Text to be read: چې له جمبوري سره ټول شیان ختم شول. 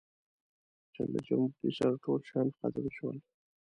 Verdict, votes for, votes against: rejected, 0, 2